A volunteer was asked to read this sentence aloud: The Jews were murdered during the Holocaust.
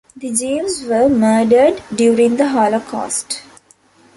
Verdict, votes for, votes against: accepted, 2, 0